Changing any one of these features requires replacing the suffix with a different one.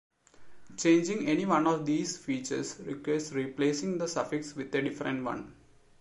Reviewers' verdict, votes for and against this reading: rejected, 1, 2